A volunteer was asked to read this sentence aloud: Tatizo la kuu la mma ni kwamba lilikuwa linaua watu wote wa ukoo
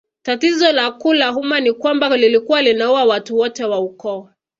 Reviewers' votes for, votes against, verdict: 0, 2, rejected